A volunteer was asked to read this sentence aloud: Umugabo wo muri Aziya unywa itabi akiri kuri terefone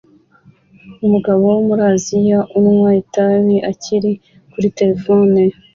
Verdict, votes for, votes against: accepted, 2, 0